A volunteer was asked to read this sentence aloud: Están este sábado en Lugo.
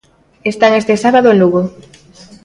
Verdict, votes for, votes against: accepted, 2, 0